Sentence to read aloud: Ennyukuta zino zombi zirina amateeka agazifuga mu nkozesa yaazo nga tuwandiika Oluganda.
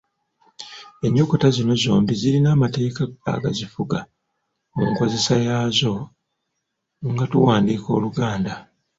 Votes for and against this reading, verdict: 2, 0, accepted